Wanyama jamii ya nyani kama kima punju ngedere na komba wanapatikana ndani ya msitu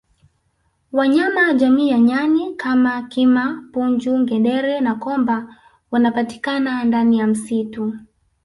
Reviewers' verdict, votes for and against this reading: accepted, 2, 0